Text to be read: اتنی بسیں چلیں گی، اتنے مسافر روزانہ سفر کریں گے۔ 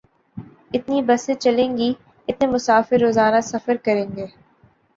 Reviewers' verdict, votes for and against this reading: accepted, 3, 0